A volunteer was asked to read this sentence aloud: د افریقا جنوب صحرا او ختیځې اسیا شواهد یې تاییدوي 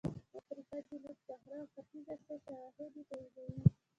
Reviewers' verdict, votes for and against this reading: rejected, 1, 2